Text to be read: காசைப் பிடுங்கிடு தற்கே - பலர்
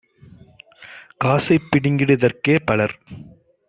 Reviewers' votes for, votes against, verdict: 2, 0, accepted